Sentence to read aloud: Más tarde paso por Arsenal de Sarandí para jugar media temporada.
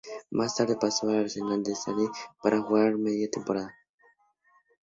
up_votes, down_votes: 0, 2